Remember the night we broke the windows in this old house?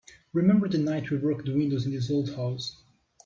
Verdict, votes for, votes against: accepted, 3, 1